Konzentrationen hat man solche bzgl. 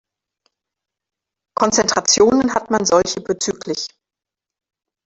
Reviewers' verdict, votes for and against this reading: accepted, 2, 0